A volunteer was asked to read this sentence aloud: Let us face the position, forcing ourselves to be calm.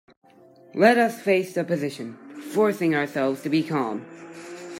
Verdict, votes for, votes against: rejected, 1, 2